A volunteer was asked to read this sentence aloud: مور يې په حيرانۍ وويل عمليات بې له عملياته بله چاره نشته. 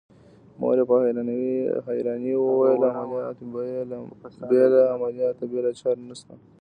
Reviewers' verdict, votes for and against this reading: rejected, 1, 2